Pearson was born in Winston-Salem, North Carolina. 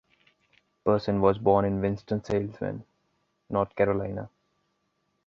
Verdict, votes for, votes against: rejected, 0, 2